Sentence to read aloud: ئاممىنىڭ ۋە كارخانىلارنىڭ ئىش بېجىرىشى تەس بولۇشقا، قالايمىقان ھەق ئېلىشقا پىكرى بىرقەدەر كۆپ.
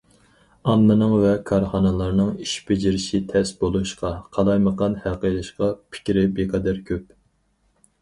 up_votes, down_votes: 2, 2